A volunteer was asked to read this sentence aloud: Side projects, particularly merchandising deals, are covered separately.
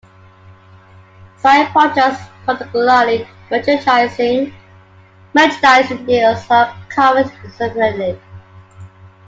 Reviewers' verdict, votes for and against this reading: rejected, 0, 2